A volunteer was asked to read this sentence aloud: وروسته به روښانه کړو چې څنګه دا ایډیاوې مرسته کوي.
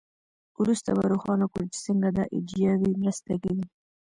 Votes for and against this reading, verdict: 1, 2, rejected